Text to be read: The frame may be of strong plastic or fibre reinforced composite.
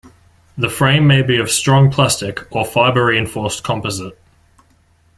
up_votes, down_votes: 2, 0